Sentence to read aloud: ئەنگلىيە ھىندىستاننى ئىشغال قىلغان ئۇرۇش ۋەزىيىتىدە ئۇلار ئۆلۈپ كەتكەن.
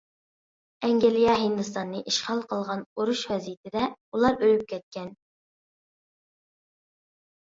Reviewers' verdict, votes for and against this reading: accepted, 2, 0